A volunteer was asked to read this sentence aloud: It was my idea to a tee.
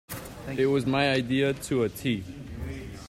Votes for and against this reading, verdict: 2, 0, accepted